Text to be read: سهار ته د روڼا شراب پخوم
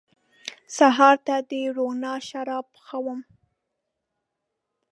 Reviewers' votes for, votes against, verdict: 2, 0, accepted